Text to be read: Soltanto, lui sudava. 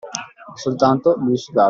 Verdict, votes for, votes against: accepted, 2, 1